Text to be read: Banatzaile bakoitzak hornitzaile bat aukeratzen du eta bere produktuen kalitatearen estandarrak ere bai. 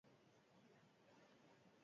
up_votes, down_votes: 0, 2